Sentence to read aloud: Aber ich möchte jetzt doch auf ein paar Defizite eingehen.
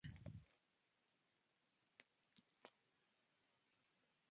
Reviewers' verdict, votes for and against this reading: rejected, 0, 2